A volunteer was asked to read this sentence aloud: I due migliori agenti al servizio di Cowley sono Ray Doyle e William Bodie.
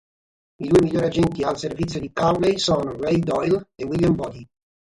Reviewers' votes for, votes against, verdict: 3, 0, accepted